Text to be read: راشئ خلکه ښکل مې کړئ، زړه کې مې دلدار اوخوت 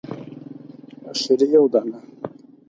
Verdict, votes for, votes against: rejected, 0, 6